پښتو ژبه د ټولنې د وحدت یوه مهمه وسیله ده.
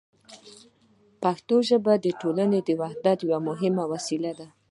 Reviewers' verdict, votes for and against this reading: accepted, 2, 0